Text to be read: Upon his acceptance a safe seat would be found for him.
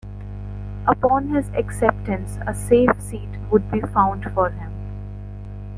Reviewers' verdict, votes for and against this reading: accepted, 2, 1